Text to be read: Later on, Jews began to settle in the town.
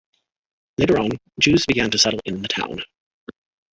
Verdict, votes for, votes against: accepted, 2, 1